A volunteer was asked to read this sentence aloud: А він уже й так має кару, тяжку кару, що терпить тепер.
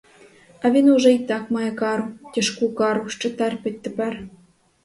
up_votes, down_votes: 0, 2